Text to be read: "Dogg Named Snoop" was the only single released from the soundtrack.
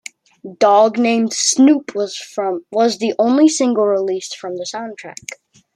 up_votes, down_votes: 0, 2